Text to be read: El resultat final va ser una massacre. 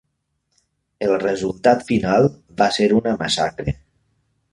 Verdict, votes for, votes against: accepted, 3, 0